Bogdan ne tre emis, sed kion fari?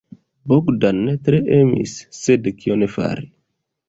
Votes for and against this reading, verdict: 1, 2, rejected